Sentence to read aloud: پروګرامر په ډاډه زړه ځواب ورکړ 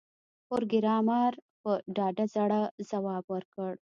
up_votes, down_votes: 2, 0